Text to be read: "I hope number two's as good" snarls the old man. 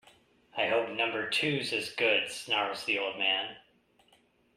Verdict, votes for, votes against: accepted, 2, 0